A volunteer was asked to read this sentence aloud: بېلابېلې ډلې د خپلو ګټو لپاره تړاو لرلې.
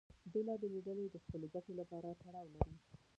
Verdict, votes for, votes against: rejected, 1, 2